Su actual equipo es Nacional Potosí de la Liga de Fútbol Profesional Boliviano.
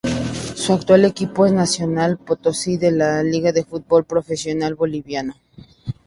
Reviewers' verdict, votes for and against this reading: accepted, 2, 0